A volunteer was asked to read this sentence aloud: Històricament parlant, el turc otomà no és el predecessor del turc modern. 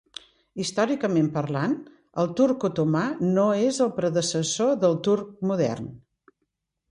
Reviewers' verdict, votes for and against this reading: accepted, 2, 0